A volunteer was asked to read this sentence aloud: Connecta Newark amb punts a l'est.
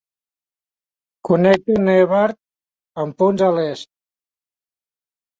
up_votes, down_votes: 0, 2